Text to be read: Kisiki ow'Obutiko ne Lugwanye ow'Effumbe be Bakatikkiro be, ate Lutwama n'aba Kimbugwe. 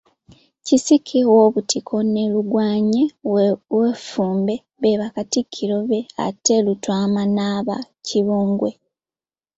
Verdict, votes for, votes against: rejected, 0, 2